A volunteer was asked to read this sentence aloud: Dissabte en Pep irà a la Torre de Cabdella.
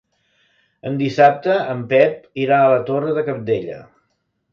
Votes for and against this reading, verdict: 1, 2, rejected